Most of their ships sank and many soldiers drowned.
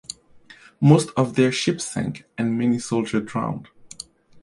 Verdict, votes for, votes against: rejected, 0, 2